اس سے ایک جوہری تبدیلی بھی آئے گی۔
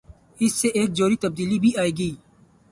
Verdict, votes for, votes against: rejected, 0, 2